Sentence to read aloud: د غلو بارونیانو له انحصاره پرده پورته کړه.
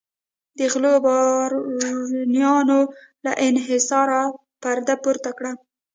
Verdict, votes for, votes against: rejected, 0, 2